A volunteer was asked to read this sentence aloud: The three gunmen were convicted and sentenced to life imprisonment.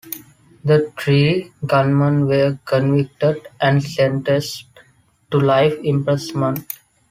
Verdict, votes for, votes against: rejected, 2, 3